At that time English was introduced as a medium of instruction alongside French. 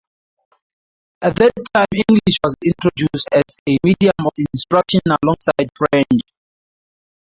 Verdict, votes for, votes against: accepted, 2, 0